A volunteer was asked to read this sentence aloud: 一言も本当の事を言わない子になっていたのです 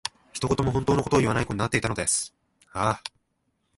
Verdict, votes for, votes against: rejected, 0, 2